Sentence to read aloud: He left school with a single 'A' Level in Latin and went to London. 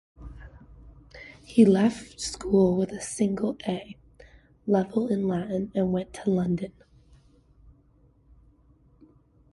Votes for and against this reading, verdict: 2, 0, accepted